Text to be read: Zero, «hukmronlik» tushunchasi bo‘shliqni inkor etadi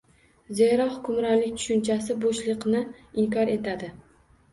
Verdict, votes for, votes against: accepted, 2, 0